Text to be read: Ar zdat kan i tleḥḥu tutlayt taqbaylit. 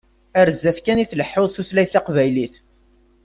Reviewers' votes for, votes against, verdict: 2, 0, accepted